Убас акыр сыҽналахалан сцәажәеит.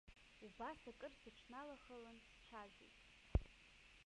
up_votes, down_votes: 0, 2